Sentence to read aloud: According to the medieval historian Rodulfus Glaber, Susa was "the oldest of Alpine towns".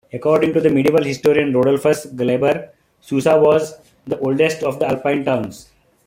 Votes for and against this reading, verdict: 2, 0, accepted